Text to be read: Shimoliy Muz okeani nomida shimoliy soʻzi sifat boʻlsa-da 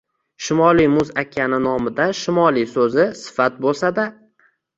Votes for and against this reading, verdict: 2, 0, accepted